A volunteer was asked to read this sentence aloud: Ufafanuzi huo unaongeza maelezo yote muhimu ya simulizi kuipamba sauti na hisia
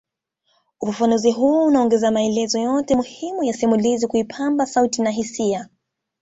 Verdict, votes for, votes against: accepted, 2, 0